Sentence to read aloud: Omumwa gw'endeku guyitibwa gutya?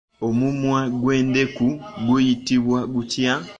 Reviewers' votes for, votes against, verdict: 2, 0, accepted